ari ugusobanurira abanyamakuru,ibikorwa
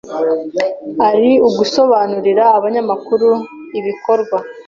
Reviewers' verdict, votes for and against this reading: accepted, 2, 0